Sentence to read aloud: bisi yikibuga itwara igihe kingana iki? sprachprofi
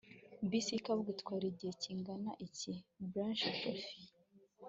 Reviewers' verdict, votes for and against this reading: accepted, 2, 0